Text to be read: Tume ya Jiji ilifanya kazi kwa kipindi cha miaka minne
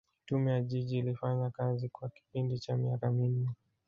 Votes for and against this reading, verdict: 1, 2, rejected